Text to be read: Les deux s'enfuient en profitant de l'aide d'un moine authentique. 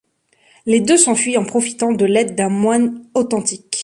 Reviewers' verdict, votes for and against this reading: accepted, 2, 0